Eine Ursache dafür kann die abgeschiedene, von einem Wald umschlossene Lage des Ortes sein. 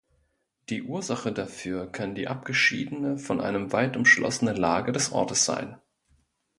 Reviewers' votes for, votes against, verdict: 1, 2, rejected